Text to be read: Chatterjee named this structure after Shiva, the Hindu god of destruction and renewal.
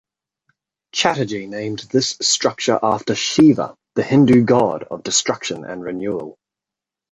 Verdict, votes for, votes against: accepted, 2, 1